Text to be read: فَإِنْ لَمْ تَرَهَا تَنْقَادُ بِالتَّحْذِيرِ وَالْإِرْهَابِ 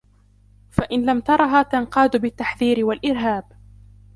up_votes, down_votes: 2, 1